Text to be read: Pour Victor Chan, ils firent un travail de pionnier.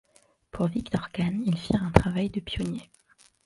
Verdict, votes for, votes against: rejected, 1, 2